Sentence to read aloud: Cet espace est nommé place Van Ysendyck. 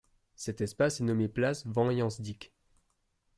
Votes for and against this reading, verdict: 1, 2, rejected